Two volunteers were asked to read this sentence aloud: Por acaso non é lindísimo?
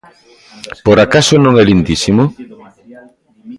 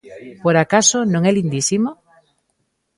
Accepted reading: second